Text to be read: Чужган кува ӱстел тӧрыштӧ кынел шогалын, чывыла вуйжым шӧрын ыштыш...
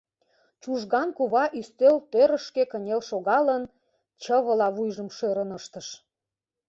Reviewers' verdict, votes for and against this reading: rejected, 0, 2